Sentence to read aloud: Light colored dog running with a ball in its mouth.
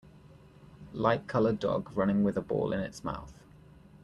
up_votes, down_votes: 2, 0